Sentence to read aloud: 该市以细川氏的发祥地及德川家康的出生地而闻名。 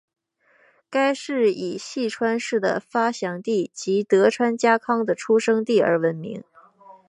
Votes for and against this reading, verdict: 2, 3, rejected